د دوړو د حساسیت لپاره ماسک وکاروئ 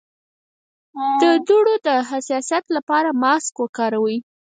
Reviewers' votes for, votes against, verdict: 2, 4, rejected